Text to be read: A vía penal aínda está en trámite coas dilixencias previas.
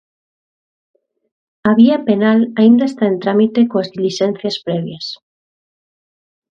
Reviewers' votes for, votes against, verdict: 2, 0, accepted